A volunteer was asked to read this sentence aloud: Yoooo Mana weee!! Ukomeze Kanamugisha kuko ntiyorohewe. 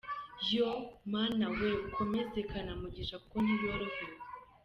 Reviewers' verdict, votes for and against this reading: accepted, 2, 0